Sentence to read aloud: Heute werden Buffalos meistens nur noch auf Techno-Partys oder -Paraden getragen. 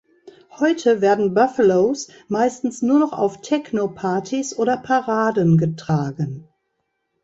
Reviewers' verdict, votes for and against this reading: accepted, 2, 0